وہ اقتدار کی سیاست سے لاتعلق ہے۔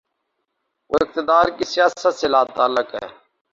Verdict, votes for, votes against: rejected, 0, 2